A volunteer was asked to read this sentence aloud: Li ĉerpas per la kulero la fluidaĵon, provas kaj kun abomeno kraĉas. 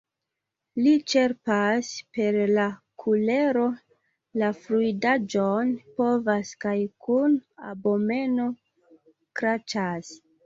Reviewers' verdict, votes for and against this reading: rejected, 0, 2